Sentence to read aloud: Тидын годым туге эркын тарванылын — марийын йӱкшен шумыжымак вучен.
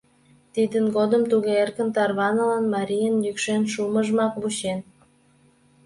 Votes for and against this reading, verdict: 2, 0, accepted